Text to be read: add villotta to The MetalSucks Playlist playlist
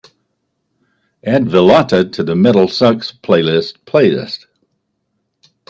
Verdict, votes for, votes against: accepted, 2, 0